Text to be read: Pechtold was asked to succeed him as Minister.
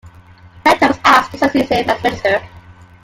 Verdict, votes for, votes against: rejected, 1, 2